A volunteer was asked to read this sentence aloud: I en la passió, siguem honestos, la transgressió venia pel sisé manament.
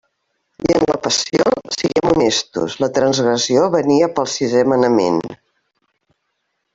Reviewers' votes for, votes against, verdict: 0, 2, rejected